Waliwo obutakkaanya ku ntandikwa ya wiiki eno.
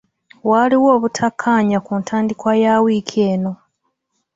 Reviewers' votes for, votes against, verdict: 0, 2, rejected